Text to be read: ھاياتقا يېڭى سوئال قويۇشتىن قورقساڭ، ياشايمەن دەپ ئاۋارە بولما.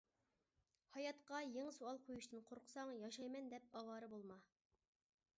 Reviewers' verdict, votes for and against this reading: accepted, 2, 0